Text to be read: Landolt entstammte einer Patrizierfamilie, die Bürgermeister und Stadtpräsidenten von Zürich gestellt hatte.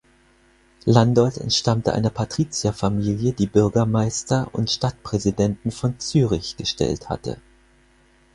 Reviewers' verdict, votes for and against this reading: accepted, 4, 0